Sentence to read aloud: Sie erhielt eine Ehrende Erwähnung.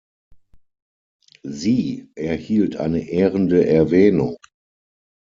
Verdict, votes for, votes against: accepted, 6, 0